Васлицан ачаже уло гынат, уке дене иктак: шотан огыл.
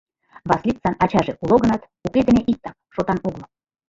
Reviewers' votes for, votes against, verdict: 0, 2, rejected